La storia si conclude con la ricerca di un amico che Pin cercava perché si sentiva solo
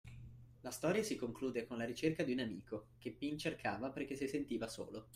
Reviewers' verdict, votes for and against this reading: accepted, 2, 0